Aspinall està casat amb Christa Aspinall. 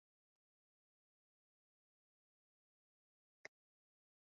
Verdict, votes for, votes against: rejected, 0, 2